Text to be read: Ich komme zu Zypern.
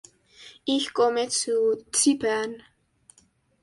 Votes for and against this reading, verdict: 2, 0, accepted